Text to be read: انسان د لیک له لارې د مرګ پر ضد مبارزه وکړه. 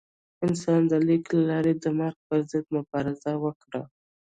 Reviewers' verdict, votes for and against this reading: rejected, 1, 2